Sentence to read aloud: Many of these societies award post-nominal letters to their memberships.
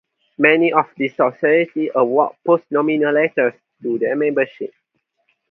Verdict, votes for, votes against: rejected, 0, 4